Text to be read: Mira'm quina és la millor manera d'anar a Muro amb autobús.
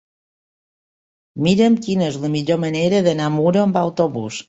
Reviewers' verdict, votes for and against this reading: accepted, 3, 0